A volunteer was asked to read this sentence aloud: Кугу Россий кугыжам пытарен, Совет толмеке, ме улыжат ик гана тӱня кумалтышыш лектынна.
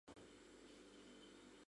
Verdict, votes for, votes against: rejected, 0, 2